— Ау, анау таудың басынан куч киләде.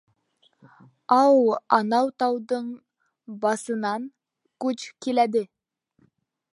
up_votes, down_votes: 0, 2